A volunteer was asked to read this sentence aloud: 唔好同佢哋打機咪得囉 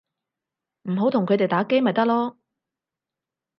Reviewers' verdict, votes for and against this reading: accepted, 4, 0